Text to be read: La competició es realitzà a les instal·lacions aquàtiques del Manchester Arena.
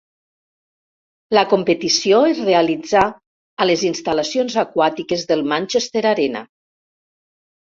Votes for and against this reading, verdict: 2, 0, accepted